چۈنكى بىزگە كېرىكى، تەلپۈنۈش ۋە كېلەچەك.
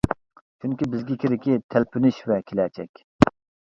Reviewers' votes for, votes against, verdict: 2, 0, accepted